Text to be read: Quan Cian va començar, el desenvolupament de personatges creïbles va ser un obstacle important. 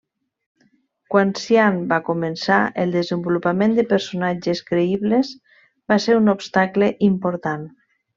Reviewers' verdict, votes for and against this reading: accepted, 2, 0